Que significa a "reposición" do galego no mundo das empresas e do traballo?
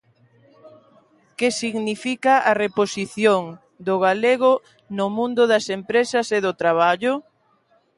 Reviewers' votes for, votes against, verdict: 2, 0, accepted